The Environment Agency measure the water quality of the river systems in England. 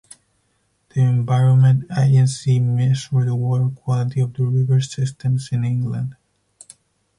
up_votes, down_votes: 0, 4